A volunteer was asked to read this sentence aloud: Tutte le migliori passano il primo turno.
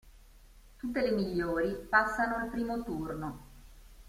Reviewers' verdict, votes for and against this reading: accepted, 2, 1